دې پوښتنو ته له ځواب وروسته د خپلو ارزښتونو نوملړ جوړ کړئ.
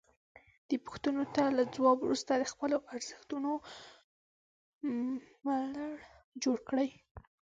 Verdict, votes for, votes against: rejected, 0, 2